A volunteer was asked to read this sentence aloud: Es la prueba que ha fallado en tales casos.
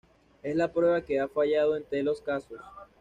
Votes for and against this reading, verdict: 1, 2, rejected